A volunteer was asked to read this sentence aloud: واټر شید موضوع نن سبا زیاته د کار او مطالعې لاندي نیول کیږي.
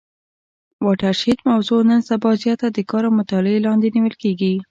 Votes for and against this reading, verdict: 2, 0, accepted